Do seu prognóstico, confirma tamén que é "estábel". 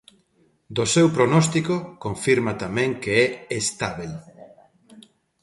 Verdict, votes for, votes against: accepted, 2, 0